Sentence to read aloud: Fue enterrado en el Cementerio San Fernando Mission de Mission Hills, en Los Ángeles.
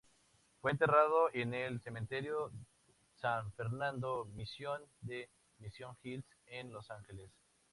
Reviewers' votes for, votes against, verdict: 2, 0, accepted